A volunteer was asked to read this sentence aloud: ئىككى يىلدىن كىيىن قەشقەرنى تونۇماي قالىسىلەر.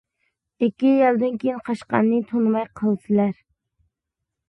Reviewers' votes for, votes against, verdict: 2, 1, accepted